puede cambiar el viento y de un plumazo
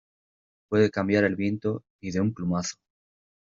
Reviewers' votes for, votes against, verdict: 2, 0, accepted